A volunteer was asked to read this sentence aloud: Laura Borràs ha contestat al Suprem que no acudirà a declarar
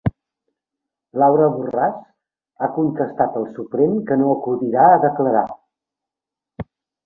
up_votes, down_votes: 3, 0